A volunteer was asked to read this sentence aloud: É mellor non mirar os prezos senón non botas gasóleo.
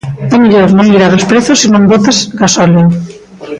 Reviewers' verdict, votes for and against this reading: rejected, 1, 2